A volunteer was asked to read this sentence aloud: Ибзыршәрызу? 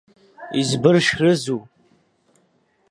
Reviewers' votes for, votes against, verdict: 1, 2, rejected